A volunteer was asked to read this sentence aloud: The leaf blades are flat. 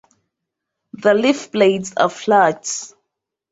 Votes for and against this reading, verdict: 2, 0, accepted